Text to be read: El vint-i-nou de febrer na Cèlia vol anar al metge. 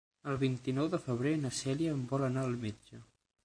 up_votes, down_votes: 3, 6